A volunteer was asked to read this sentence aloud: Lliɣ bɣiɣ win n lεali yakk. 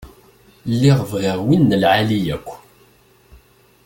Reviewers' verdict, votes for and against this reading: accepted, 2, 0